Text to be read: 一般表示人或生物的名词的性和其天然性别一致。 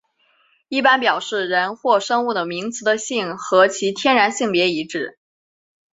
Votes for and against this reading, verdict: 5, 1, accepted